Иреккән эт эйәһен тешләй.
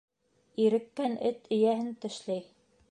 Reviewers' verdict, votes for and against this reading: rejected, 1, 2